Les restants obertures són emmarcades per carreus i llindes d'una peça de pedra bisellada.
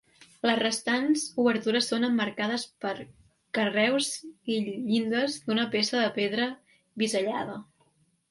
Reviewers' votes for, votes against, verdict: 3, 0, accepted